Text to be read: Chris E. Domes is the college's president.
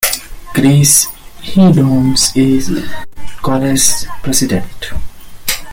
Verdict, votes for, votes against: rejected, 0, 2